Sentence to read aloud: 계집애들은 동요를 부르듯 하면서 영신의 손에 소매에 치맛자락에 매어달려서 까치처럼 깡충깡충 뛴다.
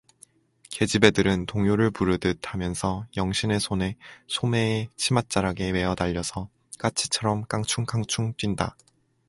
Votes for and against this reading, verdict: 4, 0, accepted